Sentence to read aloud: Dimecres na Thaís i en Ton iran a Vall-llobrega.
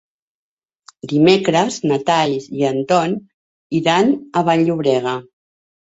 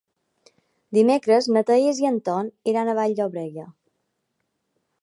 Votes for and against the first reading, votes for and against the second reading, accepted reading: 1, 2, 2, 0, second